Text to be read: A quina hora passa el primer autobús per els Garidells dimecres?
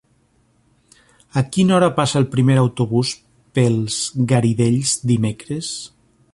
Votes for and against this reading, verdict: 0, 2, rejected